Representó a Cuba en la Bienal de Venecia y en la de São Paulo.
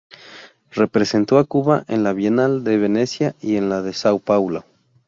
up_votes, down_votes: 12, 0